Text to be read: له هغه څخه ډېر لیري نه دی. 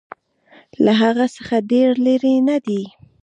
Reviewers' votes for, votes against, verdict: 2, 1, accepted